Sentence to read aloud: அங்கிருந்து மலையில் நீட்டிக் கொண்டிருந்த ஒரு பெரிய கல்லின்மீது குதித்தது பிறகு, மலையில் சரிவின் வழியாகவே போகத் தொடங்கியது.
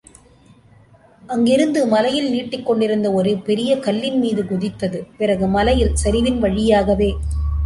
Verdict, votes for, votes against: rejected, 1, 2